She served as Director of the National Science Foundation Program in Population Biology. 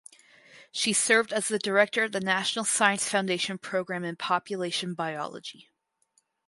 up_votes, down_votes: 2, 2